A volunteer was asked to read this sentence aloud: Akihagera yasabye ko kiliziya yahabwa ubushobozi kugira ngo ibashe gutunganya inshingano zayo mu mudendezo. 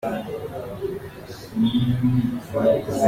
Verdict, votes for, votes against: rejected, 0, 2